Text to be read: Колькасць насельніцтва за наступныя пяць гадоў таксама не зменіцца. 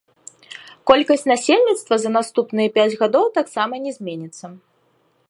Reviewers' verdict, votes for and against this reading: accepted, 2, 0